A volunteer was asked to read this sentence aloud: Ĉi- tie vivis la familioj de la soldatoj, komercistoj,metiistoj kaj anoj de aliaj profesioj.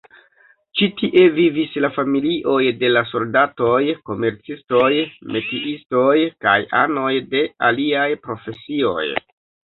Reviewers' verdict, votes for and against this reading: accepted, 2, 1